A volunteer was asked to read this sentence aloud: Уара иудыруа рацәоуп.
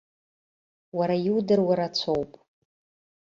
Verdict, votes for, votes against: accepted, 2, 0